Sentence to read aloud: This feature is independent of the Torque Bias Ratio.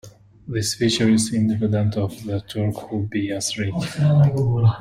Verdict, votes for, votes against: rejected, 0, 2